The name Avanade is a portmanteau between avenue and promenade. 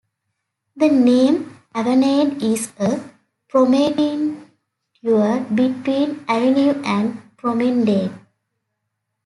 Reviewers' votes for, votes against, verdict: 2, 1, accepted